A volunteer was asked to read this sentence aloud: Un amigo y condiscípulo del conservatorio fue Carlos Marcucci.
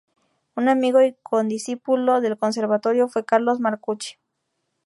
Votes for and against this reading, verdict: 4, 0, accepted